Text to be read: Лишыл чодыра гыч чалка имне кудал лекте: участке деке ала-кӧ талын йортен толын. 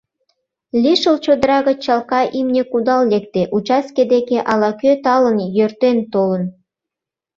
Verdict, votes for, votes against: rejected, 1, 2